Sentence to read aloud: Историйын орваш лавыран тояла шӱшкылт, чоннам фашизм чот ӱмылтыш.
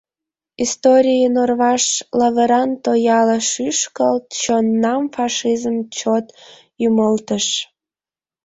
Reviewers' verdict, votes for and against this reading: accepted, 2, 0